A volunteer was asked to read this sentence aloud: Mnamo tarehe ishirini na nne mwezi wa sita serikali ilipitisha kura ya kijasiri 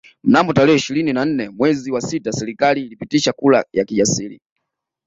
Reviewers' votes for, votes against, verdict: 2, 0, accepted